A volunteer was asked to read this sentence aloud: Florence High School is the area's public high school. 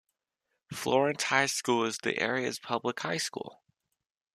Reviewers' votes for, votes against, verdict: 2, 0, accepted